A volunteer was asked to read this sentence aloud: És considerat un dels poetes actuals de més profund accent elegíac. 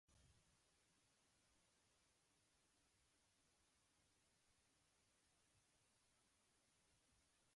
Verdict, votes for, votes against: rejected, 0, 2